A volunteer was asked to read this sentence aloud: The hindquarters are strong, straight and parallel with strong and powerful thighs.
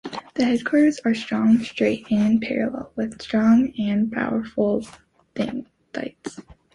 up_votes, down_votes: 0, 2